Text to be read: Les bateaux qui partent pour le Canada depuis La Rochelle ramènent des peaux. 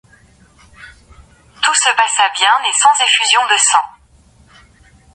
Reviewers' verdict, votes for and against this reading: rejected, 0, 2